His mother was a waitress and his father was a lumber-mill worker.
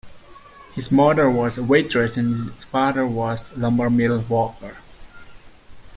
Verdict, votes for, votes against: rejected, 1, 2